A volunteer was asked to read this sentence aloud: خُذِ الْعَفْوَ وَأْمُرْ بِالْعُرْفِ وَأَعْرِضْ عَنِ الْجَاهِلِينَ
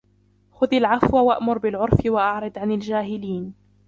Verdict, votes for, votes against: rejected, 1, 2